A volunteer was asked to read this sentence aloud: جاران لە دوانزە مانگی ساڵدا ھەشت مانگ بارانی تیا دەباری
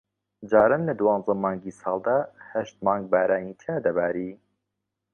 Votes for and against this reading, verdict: 2, 0, accepted